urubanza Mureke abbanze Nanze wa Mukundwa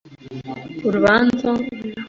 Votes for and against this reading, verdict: 1, 3, rejected